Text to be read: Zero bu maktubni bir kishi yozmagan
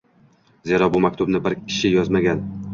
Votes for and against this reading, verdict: 2, 0, accepted